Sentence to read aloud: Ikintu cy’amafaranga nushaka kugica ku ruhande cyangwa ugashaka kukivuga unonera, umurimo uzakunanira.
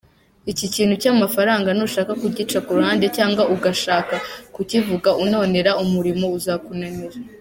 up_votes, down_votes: 1, 2